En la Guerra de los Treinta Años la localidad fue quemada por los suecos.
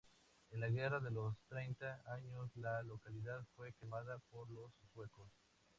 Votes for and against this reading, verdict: 2, 0, accepted